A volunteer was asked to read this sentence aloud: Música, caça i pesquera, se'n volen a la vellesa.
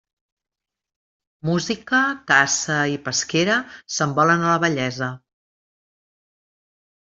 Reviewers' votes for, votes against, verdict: 2, 0, accepted